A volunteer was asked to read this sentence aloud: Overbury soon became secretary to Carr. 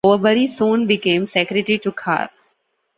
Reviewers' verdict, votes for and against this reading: rejected, 1, 2